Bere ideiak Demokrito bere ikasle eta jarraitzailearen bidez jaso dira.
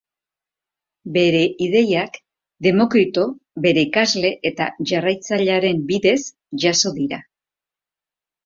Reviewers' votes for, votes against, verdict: 2, 0, accepted